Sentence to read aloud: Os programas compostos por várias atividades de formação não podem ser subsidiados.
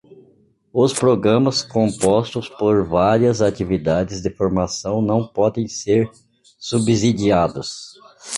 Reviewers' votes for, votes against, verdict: 1, 2, rejected